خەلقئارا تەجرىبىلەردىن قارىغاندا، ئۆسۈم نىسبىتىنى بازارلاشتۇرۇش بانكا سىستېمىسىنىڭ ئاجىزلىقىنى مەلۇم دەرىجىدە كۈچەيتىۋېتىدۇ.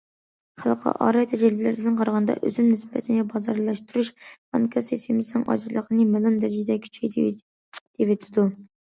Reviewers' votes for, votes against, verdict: 1, 2, rejected